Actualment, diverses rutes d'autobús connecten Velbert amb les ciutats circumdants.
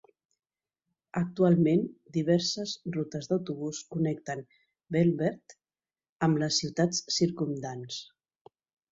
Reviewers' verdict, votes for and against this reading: accepted, 3, 0